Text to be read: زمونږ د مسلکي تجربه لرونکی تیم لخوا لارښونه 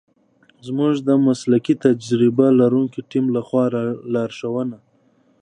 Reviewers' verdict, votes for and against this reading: accepted, 2, 1